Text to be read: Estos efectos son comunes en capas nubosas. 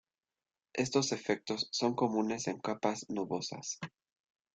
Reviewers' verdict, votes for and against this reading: accepted, 2, 0